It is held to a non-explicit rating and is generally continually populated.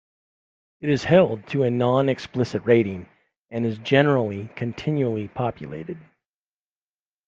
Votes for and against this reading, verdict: 2, 0, accepted